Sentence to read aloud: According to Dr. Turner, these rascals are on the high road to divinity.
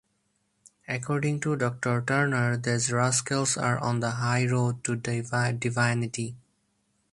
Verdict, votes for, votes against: rejected, 0, 4